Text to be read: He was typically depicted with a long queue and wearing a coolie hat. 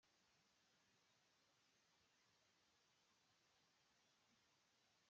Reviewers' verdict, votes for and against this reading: rejected, 0, 2